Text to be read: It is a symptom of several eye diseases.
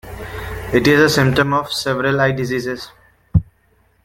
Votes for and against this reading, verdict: 2, 0, accepted